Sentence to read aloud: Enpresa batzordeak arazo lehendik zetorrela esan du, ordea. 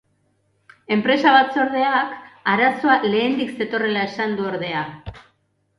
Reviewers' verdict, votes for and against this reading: accepted, 2, 0